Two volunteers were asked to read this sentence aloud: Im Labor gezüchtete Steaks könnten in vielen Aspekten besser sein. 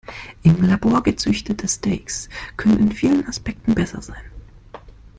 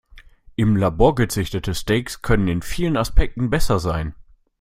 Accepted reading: first